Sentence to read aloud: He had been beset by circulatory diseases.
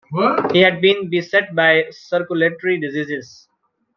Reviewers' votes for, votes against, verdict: 1, 2, rejected